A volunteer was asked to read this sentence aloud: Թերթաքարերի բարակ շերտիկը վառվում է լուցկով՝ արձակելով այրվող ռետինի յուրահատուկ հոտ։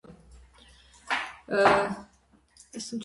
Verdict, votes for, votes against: rejected, 0, 2